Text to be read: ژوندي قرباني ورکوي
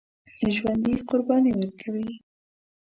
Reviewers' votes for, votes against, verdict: 2, 1, accepted